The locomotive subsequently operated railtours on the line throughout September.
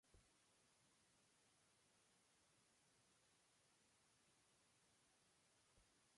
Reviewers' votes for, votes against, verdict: 1, 2, rejected